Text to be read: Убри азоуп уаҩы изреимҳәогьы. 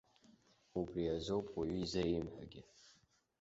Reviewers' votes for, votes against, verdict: 2, 0, accepted